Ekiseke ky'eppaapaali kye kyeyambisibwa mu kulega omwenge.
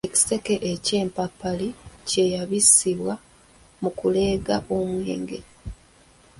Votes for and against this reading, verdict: 1, 2, rejected